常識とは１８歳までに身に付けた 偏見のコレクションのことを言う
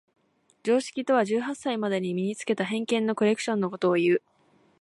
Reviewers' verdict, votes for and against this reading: rejected, 0, 2